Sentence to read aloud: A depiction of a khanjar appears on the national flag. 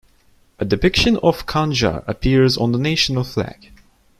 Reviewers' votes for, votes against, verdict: 2, 1, accepted